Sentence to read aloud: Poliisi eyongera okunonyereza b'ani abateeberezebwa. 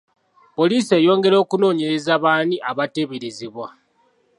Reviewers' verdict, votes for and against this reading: accepted, 2, 0